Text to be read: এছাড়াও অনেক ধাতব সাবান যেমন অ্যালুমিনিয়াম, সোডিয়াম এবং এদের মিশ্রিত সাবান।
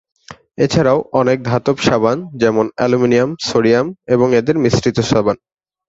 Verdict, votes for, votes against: accepted, 2, 0